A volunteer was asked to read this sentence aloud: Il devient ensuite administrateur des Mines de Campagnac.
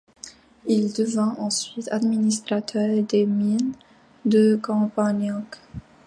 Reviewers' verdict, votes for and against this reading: accepted, 2, 1